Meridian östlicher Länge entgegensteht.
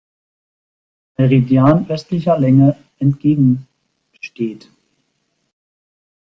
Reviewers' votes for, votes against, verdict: 0, 2, rejected